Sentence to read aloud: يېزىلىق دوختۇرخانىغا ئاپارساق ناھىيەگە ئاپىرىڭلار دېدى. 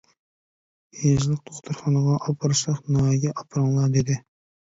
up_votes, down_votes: 0, 2